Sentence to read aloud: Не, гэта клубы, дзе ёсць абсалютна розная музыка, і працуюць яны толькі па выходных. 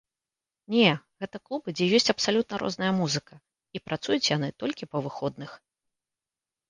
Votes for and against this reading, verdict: 2, 0, accepted